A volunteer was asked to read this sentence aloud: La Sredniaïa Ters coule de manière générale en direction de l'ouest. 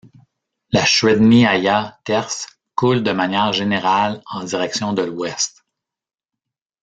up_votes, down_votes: 0, 2